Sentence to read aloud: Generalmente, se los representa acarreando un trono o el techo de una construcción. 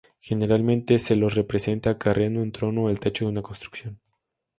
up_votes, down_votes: 0, 2